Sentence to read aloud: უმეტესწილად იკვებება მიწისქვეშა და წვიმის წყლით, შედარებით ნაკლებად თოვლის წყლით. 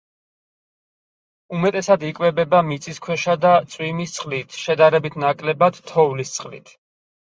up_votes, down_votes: 0, 4